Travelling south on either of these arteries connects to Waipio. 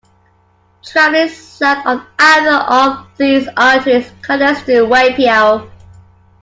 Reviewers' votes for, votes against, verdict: 2, 1, accepted